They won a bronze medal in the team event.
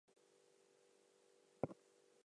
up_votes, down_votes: 0, 2